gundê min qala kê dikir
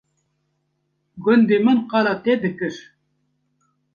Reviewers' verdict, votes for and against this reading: rejected, 0, 2